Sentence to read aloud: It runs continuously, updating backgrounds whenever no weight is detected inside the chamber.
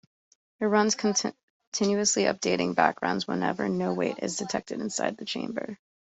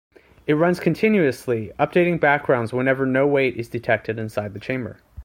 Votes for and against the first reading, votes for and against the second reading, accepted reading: 0, 2, 2, 0, second